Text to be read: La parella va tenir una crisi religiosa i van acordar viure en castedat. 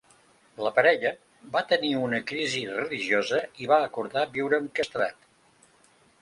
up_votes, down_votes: 0, 2